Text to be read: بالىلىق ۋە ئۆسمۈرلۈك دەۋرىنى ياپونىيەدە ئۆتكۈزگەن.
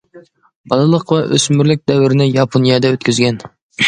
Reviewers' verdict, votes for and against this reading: accepted, 2, 0